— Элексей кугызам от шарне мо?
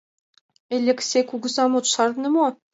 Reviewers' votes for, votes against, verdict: 2, 0, accepted